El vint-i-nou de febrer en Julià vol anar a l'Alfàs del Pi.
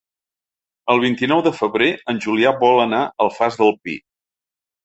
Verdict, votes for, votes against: rejected, 1, 2